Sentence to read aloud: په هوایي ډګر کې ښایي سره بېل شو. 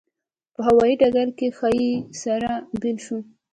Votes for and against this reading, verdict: 2, 1, accepted